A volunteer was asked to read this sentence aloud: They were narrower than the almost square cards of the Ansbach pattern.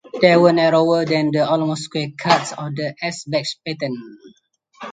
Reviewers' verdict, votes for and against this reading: rejected, 2, 4